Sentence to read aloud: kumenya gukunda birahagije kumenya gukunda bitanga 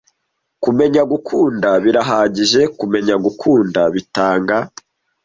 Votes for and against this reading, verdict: 2, 0, accepted